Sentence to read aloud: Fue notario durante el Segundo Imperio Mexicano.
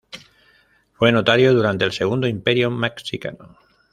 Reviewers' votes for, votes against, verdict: 1, 2, rejected